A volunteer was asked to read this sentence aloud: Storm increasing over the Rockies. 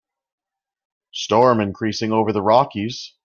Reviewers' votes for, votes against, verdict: 2, 0, accepted